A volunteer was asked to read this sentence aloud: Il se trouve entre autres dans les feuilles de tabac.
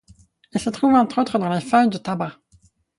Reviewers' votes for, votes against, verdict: 2, 4, rejected